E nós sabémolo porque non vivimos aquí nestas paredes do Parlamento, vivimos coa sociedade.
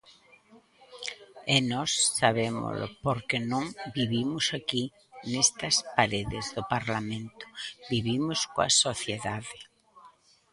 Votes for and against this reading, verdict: 1, 2, rejected